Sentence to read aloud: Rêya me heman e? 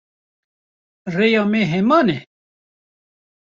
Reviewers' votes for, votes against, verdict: 2, 0, accepted